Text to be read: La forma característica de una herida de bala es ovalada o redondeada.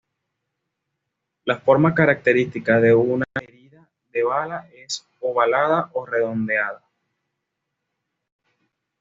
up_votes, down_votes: 2, 0